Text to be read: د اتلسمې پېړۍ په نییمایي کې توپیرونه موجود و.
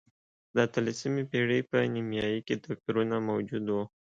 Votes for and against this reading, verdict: 2, 0, accepted